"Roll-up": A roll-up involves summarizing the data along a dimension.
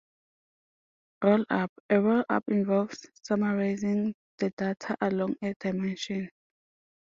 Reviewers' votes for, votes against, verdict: 2, 0, accepted